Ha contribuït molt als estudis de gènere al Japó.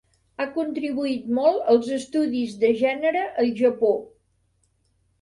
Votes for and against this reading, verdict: 1, 2, rejected